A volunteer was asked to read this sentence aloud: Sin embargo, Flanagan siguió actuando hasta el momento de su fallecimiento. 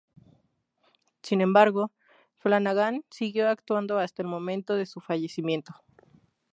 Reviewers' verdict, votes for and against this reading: rejected, 0, 2